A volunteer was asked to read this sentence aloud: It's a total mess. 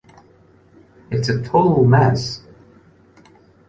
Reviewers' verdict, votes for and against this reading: accepted, 2, 0